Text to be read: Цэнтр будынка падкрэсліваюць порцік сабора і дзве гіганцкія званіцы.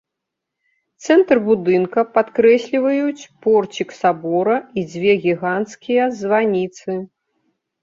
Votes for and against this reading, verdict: 2, 0, accepted